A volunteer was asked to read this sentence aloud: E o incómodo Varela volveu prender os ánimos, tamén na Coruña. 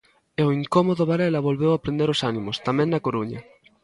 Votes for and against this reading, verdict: 0, 2, rejected